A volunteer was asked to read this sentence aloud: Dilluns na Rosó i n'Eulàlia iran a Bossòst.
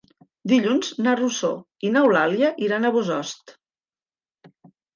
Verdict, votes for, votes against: accepted, 2, 0